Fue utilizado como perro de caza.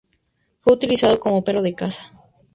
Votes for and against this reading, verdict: 2, 2, rejected